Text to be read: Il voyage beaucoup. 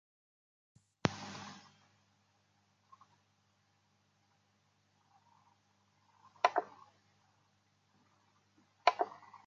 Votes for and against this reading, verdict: 0, 2, rejected